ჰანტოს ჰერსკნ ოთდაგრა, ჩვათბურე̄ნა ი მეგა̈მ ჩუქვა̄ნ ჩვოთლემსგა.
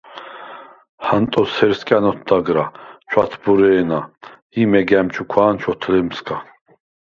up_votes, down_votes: 2, 4